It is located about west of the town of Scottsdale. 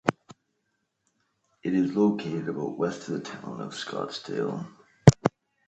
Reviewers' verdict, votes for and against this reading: accepted, 2, 0